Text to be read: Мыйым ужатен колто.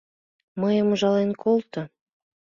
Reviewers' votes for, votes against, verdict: 0, 2, rejected